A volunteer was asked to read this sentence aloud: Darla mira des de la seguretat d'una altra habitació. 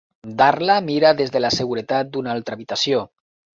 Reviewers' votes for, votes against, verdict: 2, 0, accepted